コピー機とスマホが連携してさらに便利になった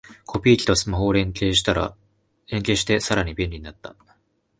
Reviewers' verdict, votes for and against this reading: rejected, 1, 2